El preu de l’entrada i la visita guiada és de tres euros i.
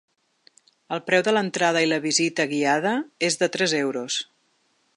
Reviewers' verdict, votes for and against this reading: rejected, 0, 2